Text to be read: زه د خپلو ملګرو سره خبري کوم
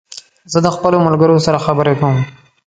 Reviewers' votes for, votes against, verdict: 2, 0, accepted